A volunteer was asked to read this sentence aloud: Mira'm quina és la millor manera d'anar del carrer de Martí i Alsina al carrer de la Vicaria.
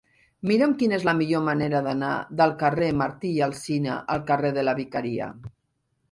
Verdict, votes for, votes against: rejected, 1, 2